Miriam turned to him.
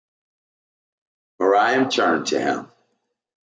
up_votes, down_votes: 2, 0